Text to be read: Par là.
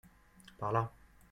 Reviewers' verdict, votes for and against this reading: accepted, 2, 0